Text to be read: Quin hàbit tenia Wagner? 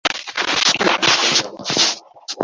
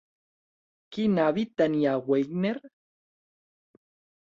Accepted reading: second